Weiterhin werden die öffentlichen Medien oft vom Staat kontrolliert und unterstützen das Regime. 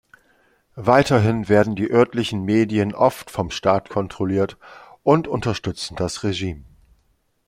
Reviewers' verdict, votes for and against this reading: rejected, 0, 2